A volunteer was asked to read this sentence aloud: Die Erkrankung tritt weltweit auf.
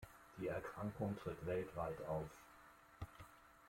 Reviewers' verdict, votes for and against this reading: accepted, 2, 0